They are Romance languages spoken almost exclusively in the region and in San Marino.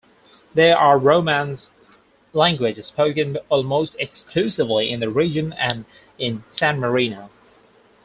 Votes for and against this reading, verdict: 4, 0, accepted